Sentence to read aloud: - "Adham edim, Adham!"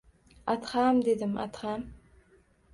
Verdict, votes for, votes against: rejected, 1, 2